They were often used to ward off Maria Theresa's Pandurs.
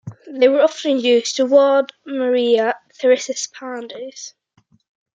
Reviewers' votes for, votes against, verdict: 0, 2, rejected